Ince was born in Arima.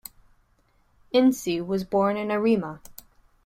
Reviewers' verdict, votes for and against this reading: accepted, 2, 0